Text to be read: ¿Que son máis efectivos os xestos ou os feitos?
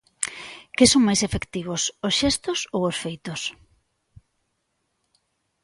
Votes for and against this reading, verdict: 2, 0, accepted